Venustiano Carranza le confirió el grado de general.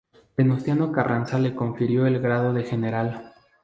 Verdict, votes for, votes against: accepted, 2, 0